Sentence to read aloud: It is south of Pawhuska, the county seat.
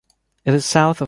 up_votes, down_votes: 0, 2